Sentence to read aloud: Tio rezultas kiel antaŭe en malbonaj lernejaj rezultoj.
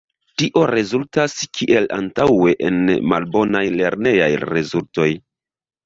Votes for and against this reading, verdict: 1, 2, rejected